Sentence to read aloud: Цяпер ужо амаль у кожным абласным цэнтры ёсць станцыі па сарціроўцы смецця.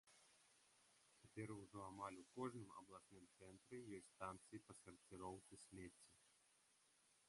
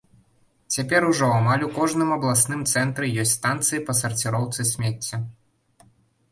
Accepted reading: second